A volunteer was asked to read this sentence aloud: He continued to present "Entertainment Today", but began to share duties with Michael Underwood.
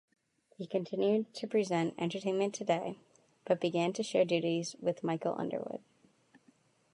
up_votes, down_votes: 2, 0